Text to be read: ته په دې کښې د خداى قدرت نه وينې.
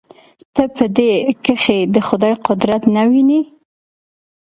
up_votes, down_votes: 2, 0